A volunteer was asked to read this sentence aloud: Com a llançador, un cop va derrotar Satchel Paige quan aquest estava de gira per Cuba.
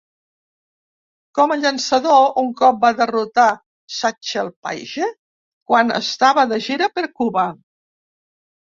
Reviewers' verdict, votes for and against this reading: rejected, 0, 2